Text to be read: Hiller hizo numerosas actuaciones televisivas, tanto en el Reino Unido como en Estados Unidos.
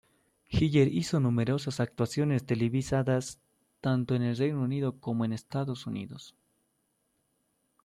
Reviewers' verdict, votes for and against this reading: rejected, 1, 2